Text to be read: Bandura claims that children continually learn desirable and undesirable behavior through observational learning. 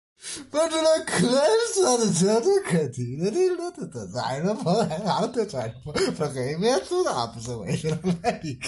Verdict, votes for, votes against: rejected, 0, 2